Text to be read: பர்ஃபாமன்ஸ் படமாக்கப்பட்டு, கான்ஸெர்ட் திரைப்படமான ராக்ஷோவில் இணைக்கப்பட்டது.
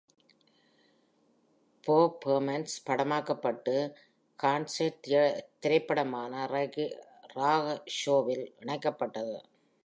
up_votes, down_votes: 0, 2